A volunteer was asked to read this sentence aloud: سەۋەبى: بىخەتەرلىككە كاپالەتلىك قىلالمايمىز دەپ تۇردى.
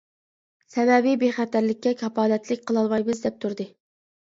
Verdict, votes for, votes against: accepted, 2, 0